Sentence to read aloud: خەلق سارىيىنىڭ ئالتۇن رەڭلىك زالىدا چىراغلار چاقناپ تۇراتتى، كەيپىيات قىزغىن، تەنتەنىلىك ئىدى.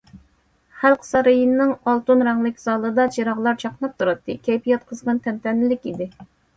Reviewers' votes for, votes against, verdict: 2, 0, accepted